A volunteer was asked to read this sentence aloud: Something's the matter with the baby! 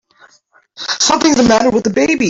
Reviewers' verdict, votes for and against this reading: rejected, 1, 2